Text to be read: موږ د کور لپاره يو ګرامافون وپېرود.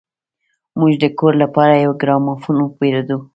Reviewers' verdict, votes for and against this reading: accepted, 2, 1